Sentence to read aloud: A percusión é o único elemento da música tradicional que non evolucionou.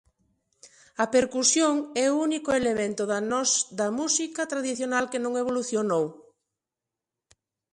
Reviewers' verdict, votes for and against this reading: rejected, 0, 2